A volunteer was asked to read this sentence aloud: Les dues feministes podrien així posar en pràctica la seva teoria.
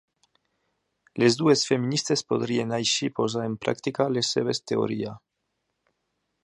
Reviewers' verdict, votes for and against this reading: rejected, 1, 2